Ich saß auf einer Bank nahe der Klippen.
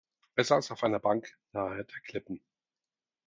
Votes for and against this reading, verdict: 0, 4, rejected